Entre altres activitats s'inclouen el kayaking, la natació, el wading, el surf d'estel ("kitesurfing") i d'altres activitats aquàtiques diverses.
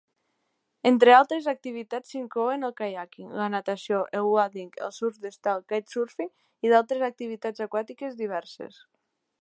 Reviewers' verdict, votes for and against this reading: accepted, 2, 0